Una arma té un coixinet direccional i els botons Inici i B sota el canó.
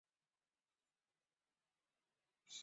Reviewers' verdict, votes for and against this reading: rejected, 1, 2